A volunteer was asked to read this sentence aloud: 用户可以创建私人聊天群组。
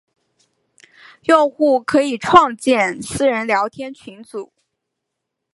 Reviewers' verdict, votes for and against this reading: accepted, 3, 0